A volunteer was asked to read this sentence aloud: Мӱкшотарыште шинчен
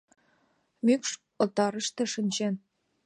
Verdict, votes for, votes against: accepted, 2, 0